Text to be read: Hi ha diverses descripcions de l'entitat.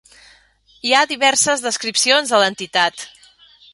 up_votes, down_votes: 3, 0